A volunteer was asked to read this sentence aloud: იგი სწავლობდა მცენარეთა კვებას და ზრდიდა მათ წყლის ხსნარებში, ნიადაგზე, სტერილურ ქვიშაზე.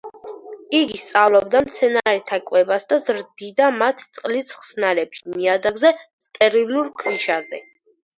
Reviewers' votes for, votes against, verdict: 4, 0, accepted